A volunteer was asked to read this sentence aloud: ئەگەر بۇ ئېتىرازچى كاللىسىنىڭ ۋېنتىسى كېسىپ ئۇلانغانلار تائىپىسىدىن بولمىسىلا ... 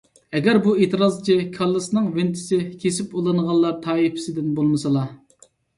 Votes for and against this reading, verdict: 2, 0, accepted